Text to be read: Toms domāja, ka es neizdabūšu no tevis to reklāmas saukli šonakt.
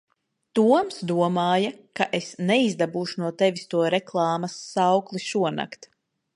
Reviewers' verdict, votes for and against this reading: accepted, 2, 0